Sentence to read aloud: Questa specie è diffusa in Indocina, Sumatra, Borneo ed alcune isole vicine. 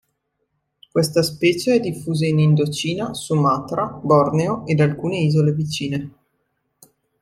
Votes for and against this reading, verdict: 2, 0, accepted